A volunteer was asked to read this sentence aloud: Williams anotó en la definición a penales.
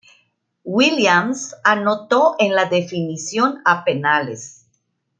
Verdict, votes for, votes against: accepted, 2, 0